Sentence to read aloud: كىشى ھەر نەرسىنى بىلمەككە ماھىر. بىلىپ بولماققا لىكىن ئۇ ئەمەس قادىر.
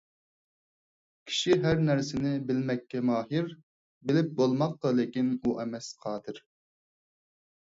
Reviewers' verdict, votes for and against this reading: accepted, 4, 0